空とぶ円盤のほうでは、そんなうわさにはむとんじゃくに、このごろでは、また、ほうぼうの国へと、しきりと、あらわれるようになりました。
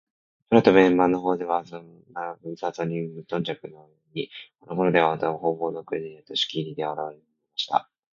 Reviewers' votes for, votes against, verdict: 1, 2, rejected